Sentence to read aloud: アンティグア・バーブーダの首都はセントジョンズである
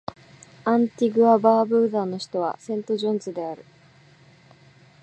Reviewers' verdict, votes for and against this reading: accepted, 2, 0